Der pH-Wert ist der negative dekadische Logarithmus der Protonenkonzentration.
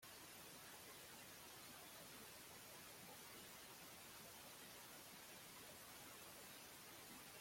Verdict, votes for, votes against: rejected, 0, 2